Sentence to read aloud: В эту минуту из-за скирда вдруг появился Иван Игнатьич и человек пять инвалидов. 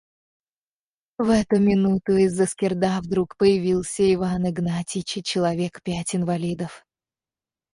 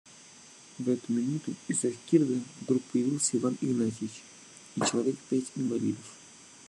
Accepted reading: second